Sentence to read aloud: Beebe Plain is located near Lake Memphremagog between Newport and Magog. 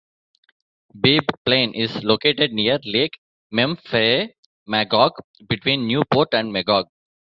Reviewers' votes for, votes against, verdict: 1, 2, rejected